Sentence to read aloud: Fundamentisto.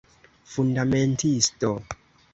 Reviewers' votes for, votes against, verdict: 2, 0, accepted